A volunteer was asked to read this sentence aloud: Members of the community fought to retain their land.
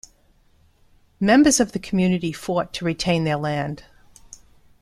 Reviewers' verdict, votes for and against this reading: accepted, 2, 0